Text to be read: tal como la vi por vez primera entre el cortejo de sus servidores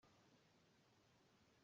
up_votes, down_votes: 0, 2